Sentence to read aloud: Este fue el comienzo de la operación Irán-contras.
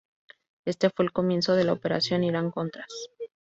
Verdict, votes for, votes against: accepted, 2, 0